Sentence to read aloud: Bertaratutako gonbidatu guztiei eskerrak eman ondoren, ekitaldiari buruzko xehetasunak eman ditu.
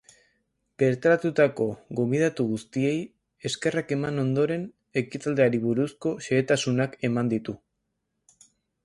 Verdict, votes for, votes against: accepted, 2, 0